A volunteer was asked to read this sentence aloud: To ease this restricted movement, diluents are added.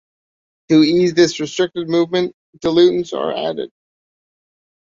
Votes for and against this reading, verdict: 2, 0, accepted